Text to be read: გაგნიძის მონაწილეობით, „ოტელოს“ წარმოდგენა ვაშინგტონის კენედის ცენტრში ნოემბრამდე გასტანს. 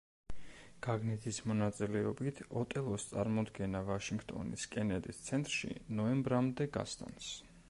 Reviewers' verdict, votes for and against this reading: rejected, 1, 2